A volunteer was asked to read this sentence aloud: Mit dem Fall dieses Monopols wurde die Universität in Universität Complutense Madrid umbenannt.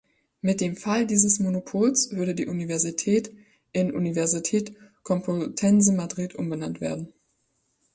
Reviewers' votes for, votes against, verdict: 0, 2, rejected